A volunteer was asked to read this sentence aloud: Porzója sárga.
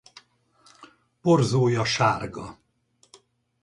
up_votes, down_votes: 4, 0